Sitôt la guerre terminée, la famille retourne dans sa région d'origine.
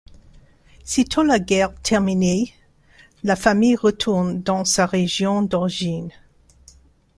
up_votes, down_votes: 2, 0